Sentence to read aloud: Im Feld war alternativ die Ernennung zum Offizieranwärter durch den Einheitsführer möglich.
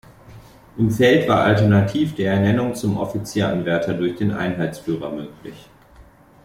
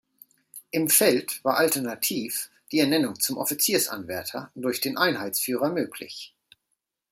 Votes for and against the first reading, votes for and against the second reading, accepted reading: 2, 0, 1, 2, first